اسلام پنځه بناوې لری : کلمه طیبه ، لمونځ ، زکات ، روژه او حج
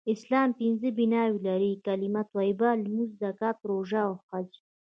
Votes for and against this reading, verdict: 2, 0, accepted